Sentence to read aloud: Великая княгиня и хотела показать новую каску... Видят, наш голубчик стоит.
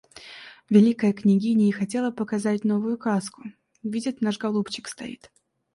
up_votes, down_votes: 2, 0